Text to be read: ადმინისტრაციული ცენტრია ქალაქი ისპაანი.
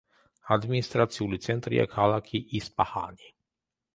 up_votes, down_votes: 1, 2